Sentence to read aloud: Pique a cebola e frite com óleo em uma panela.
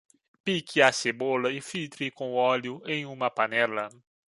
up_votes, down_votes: 0, 2